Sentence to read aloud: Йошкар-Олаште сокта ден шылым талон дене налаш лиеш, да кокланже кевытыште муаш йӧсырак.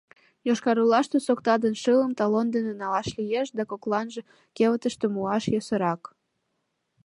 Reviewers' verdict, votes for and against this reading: accepted, 2, 0